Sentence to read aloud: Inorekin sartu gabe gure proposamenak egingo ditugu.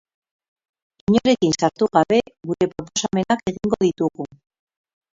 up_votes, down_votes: 2, 4